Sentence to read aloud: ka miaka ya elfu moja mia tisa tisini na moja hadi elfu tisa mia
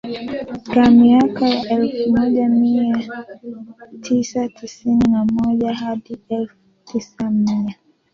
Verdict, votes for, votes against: accepted, 2, 1